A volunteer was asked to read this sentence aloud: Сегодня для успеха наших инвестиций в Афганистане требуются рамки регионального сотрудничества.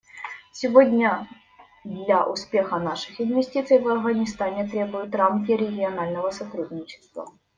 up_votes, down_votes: 1, 2